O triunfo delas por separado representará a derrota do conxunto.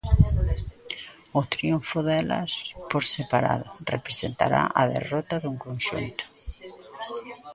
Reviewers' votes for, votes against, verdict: 2, 1, accepted